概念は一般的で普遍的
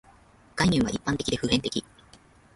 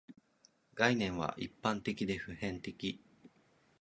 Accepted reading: second